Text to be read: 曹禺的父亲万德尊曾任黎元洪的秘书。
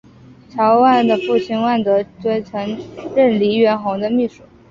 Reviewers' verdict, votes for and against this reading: accepted, 3, 0